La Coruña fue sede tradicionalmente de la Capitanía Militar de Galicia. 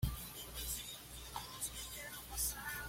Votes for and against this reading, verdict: 1, 2, rejected